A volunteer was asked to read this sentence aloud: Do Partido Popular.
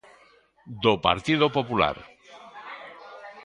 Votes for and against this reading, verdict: 0, 2, rejected